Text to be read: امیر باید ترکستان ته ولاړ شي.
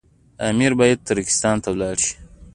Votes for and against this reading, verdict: 2, 1, accepted